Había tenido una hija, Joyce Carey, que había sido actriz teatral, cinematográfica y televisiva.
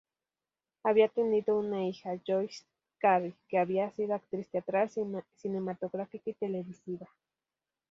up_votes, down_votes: 2, 2